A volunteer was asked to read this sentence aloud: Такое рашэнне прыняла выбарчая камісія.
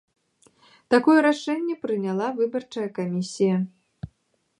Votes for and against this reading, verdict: 2, 0, accepted